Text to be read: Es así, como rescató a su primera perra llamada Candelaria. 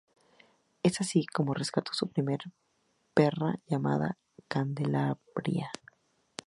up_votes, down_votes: 2, 2